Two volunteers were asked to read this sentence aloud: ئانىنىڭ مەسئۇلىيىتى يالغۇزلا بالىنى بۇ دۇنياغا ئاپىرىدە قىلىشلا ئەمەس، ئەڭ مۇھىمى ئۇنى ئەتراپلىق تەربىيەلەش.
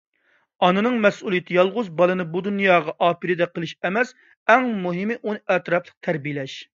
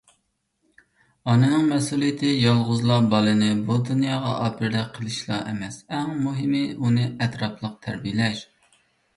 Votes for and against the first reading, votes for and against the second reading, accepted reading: 0, 2, 2, 0, second